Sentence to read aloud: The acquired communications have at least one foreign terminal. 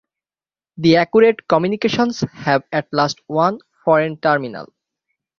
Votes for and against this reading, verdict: 0, 6, rejected